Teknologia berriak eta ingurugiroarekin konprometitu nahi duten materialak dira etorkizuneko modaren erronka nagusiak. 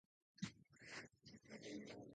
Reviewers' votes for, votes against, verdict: 0, 4, rejected